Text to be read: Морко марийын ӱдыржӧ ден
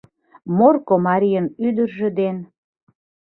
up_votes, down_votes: 2, 0